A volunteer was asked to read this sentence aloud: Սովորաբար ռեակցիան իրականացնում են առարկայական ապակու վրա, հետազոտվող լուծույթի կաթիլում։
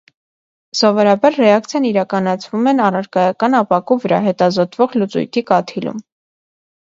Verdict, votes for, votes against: accepted, 2, 0